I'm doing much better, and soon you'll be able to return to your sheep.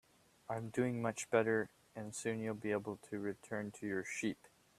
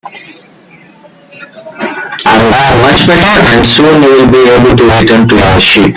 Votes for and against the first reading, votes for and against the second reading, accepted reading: 19, 1, 0, 2, first